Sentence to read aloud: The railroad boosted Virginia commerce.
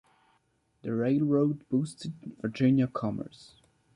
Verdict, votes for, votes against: accepted, 3, 2